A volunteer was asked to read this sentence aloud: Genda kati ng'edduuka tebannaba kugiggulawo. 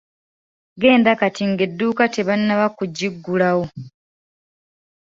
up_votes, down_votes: 0, 2